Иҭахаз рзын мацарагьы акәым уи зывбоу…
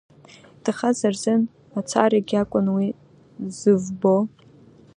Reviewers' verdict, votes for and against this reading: accepted, 2, 1